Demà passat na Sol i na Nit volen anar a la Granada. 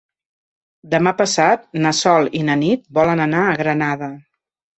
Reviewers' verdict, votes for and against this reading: accepted, 2, 1